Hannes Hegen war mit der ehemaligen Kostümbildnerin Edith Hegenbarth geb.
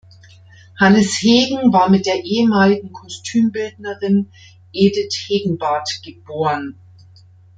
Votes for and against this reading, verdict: 1, 2, rejected